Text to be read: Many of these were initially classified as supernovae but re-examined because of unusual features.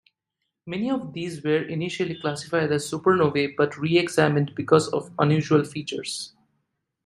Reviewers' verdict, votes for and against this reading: accepted, 2, 0